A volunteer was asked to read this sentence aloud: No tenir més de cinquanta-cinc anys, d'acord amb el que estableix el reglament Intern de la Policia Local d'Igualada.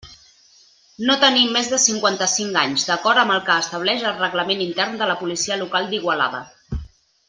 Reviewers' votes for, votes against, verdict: 2, 0, accepted